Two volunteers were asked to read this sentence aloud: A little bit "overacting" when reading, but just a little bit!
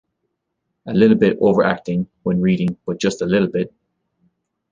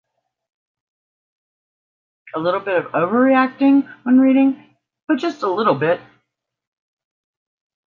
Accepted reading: first